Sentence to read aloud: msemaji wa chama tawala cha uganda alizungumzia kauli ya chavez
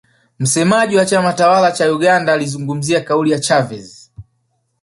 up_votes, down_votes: 4, 0